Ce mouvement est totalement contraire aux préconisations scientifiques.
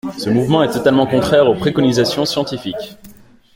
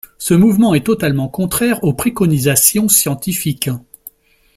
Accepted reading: second